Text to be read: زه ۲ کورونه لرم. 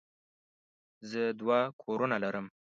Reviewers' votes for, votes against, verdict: 0, 2, rejected